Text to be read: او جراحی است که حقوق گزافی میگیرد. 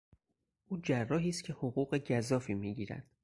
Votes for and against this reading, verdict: 4, 0, accepted